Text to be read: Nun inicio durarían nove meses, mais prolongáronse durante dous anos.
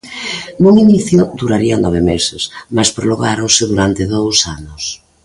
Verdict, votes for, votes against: accepted, 2, 1